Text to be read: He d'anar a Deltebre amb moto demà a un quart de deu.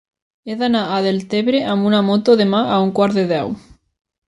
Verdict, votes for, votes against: rejected, 1, 2